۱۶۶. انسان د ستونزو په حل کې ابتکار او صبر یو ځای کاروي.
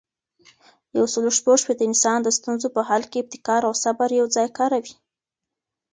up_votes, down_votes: 0, 2